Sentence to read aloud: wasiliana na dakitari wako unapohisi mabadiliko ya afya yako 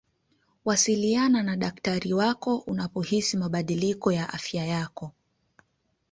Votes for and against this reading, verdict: 2, 1, accepted